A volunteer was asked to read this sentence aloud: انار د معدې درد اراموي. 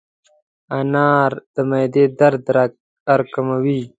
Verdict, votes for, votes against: rejected, 1, 2